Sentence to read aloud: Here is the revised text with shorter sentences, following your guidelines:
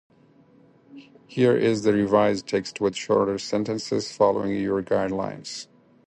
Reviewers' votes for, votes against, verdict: 4, 2, accepted